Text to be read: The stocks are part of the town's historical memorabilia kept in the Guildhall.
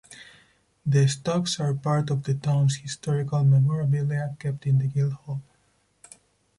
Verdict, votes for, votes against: accepted, 4, 0